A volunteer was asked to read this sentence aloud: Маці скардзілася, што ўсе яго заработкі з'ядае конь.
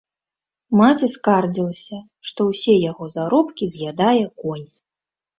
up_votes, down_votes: 0, 2